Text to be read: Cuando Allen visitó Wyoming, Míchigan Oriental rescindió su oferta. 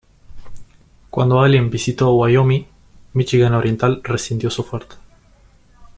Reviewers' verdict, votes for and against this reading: accepted, 2, 0